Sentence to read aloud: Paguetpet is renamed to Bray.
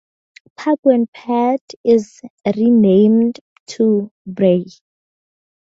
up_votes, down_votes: 4, 0